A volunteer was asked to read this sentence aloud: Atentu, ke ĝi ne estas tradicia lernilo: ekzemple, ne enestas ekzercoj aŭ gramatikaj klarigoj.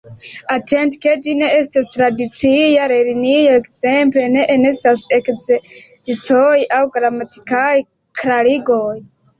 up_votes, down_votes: 0, 2